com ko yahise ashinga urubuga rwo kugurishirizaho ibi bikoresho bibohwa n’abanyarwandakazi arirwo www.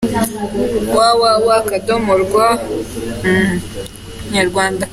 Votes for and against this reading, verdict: 0, 3, rejected